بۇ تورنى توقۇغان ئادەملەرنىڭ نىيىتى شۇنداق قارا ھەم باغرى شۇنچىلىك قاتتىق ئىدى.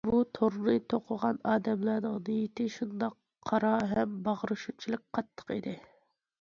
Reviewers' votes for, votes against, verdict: 2, 0, accepted